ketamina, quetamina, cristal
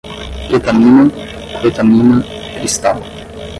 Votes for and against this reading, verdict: 5, 5, rejected